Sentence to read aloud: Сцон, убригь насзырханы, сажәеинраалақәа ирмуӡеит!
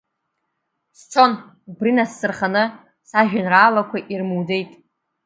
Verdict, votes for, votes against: rejected, 0, 2